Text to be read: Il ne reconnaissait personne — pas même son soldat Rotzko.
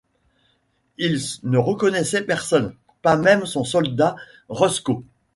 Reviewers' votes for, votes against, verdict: 0, 2, rejected